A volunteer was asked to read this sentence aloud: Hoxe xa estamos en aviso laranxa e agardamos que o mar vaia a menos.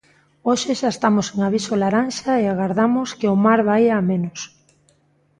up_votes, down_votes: 2, 0